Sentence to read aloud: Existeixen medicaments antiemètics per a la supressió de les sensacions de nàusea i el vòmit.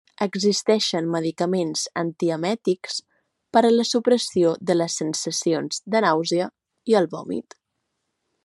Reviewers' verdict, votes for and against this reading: accepted, 2, 0